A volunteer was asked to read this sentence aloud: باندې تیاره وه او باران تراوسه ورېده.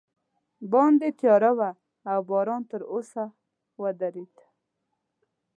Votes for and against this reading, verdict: 1, 3, rejected